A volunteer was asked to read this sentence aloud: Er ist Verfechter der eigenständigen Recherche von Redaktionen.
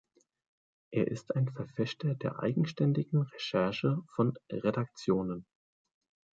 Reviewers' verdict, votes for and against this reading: rejected, 1, 2